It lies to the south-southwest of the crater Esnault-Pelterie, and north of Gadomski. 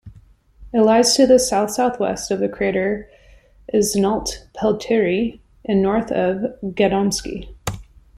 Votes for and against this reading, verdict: 2, 0, accepted